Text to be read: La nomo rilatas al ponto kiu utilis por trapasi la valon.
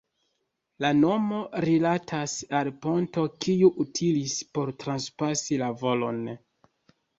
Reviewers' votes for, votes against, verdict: 2, 0, accepted